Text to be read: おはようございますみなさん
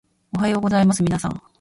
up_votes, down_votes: 1, 2